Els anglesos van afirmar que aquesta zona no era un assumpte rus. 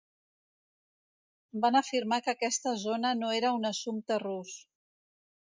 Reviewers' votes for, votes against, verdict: 1, 2, rejected